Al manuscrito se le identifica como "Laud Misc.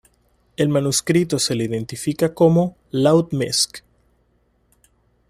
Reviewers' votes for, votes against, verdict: 2, 0, accepted